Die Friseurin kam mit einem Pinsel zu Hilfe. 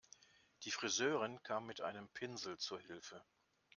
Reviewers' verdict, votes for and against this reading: accepted, 2, 0